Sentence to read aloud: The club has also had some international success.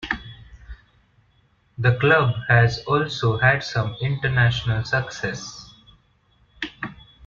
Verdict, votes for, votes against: accepted, 2, 1